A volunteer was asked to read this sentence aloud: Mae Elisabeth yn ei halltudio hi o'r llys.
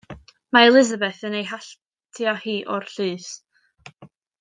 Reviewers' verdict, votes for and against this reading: rejected, 0, 2